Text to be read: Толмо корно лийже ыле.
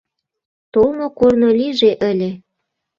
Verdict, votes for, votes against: accepted, 2, 0